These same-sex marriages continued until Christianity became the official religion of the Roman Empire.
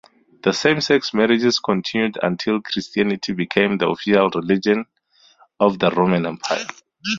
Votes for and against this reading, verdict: 0, 2, rejected